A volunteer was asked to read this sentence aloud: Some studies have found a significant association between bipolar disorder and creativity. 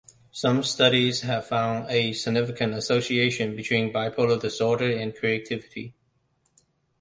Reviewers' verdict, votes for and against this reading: accepted, 2, 0